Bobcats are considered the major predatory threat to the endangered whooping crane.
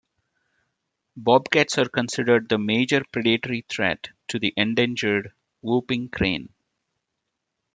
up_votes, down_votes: 2, 0